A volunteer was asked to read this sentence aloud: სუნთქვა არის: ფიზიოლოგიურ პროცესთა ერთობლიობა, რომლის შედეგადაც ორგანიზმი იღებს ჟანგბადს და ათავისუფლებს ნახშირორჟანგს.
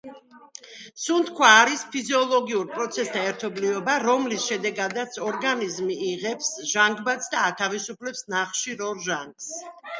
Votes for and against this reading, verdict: 2, 1, accepted